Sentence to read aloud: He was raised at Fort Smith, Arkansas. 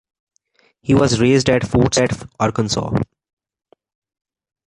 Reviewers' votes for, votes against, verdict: 0, 2, rejected